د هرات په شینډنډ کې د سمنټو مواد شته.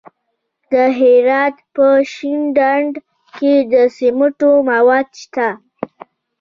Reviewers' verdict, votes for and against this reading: rejected, 1, 2